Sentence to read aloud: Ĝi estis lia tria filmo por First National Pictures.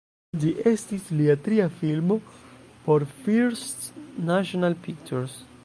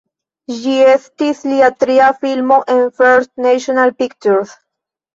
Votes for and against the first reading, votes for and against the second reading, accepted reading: 1, 2, 2, 1, second